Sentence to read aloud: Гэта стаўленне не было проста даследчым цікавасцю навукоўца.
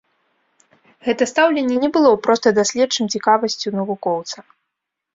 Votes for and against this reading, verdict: 2, 0, accepted